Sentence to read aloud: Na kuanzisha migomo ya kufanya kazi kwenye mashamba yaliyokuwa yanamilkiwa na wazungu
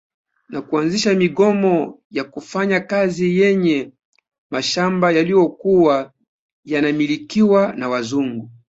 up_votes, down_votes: 0, 2